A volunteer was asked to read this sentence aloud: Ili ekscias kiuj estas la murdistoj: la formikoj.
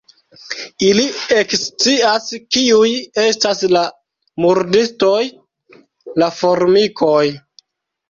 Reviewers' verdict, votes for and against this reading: accepted, 2, 0